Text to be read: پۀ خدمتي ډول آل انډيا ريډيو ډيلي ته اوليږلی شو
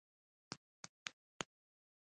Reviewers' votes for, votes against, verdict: 1, 2, rejected